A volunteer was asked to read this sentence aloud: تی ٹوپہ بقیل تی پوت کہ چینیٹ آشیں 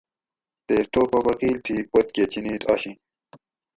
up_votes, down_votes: 2, 2